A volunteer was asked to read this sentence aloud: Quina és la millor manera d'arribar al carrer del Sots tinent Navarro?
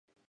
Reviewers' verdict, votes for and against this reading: rejected, 1, 2